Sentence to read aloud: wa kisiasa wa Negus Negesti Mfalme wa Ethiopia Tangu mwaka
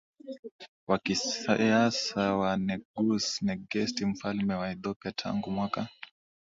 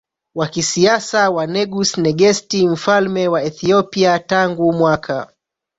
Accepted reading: first